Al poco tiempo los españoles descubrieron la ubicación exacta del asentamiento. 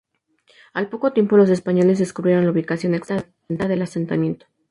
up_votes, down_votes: 0, 2